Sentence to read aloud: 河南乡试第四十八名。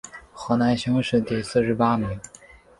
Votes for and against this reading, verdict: 2, 0, accepted